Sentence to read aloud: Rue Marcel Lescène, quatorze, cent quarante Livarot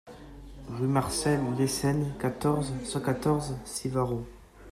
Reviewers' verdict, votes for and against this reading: rejected, 0, 2